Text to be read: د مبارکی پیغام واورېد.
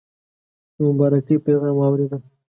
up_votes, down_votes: 2, 0